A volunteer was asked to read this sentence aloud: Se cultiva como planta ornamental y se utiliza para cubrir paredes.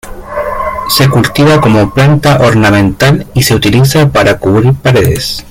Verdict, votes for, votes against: accepted, 2, 0